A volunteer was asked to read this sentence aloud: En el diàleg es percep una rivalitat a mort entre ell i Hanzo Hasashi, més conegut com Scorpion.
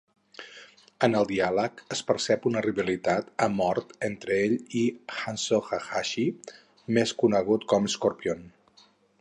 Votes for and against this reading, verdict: 0, 4, rejected